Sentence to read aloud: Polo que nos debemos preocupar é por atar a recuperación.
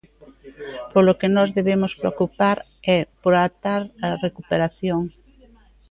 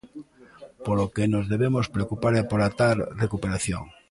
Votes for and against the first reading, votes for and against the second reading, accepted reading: 2, 1, 0, 2, first